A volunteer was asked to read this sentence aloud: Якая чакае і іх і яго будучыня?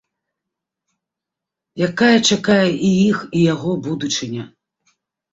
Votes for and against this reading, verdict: 2, 0, accepted